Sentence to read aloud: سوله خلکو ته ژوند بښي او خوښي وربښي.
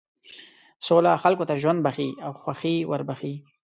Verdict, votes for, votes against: accepted, 2, 0